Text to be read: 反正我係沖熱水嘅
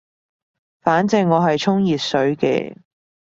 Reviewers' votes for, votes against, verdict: 2, 0, accepted